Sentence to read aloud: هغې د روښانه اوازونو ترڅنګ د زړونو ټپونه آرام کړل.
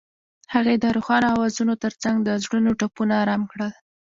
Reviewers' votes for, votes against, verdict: 2, 0, accepted